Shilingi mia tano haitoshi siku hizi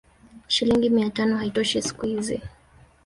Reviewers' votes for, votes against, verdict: 0, 2, rejected